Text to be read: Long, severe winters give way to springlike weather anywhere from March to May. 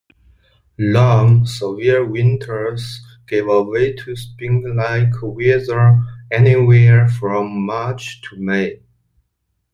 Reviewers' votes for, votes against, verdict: 3, 2, accepted